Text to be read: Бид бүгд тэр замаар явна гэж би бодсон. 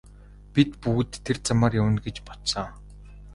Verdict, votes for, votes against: rejected, 0, 2